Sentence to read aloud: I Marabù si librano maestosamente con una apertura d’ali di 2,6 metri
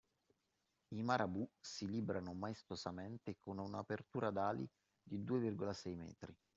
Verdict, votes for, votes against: rejected, 0, 2